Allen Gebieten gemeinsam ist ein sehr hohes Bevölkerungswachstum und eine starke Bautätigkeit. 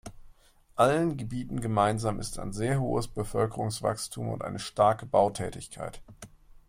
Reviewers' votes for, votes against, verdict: 2, 0, accepted